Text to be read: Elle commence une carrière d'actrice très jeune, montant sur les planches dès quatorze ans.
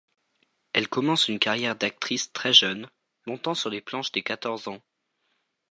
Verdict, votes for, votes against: accepted, 2, 0